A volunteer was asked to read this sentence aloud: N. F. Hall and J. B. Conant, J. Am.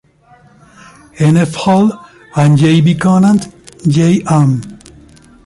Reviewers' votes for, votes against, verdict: 0, 2, rejected